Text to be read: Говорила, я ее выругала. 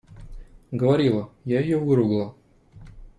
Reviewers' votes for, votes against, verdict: 2, 0, accepted